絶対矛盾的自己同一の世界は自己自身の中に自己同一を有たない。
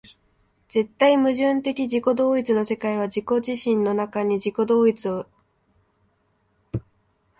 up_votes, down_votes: 0, 4